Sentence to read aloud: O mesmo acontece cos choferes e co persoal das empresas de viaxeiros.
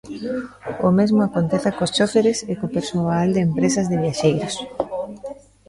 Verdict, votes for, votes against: rejected, 0, 2